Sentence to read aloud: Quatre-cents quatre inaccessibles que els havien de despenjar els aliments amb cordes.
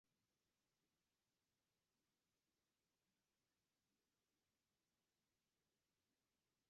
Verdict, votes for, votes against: rejected, 0, 2